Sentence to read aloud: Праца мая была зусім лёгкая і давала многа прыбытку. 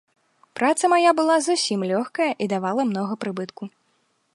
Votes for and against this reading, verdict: 2, 0, accepted